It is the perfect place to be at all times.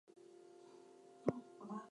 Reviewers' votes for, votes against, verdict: 0, 6, rejected